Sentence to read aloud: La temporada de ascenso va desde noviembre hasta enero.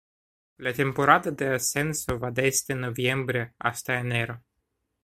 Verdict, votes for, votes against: accepted, 2, 0